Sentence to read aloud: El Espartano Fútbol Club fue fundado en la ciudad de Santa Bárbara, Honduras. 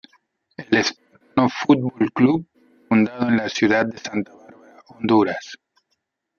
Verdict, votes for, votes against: rejected, 0, 2